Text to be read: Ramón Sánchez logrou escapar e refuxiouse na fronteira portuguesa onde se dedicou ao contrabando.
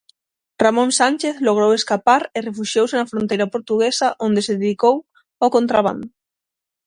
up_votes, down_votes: 6, 0